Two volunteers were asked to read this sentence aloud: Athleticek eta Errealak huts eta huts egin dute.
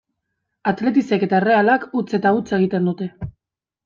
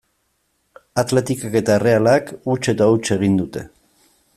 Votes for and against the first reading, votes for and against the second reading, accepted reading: 0, 2, 2, 0, second